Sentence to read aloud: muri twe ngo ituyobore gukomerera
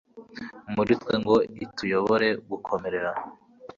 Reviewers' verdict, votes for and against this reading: accepted, 2, 0